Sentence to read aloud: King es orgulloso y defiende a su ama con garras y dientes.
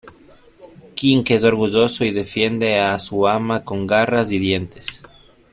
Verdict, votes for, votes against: rejected, 2, 3